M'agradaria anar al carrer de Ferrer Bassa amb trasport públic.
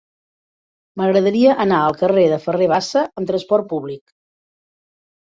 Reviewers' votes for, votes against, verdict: 3, 0, accepted